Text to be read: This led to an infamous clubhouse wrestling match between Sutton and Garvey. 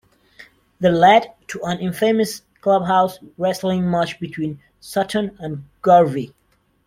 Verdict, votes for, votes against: rejected, 1, 2